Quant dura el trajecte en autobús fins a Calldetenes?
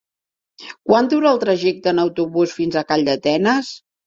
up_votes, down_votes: 2, 0